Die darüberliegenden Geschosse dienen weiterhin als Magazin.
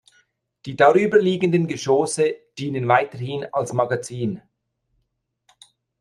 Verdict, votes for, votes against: accepted, 2, 0